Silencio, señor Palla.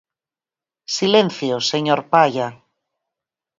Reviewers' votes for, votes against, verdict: 4, 0, accepted